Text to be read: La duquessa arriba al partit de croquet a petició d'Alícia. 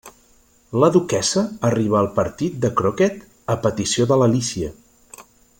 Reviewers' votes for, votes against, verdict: 0, 2, rejected